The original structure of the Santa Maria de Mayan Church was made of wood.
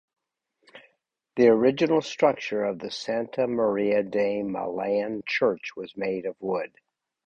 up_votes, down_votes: 2, 4